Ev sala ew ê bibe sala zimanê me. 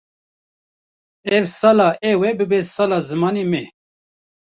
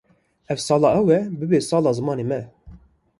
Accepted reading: second